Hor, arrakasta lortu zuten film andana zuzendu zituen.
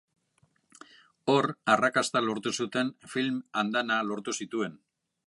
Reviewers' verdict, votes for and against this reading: rejected, 1, 2